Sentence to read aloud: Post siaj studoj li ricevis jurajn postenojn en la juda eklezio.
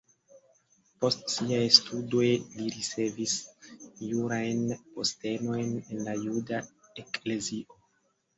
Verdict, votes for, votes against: accepted, 2, 0